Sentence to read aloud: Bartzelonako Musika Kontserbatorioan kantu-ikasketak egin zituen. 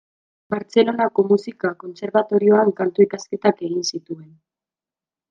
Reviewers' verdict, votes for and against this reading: accepted, 2, 0